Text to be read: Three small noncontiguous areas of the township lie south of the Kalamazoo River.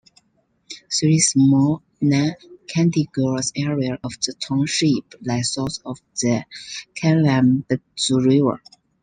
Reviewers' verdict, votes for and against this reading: rejected, 0, 2